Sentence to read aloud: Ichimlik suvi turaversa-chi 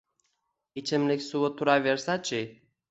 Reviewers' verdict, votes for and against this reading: accepted, 2, 1